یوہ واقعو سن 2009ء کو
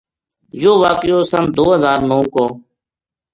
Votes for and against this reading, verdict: 0, 2, rejected